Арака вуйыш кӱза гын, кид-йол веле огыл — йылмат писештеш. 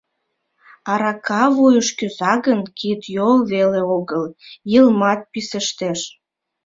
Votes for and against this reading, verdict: 2, 1, accepted